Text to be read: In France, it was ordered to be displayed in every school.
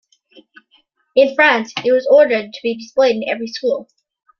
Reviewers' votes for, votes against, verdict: 2, 1, accepted